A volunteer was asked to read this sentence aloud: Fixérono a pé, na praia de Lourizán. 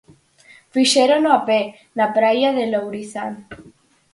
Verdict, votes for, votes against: accepted, 4, 2